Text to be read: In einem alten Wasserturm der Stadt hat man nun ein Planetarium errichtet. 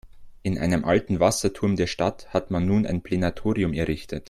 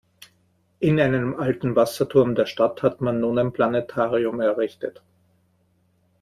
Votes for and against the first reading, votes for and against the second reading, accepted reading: 0, 2, 2, 0, second